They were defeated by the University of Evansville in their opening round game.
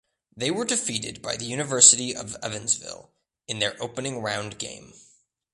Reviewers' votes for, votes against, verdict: 2, 0, accepted